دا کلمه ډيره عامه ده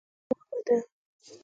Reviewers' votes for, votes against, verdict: 4, 0, accepted